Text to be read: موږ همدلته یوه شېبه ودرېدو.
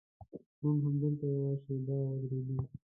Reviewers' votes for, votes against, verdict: 0, 2, rejected